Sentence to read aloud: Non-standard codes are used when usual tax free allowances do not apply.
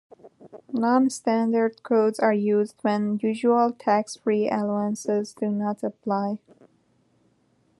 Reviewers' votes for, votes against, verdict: 3, 1, accepted